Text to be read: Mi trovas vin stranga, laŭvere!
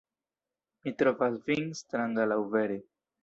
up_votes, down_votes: 0, 2